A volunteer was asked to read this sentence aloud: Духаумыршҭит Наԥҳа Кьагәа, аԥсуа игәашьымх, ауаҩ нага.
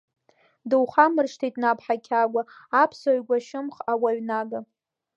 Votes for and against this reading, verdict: 0, 2, rejected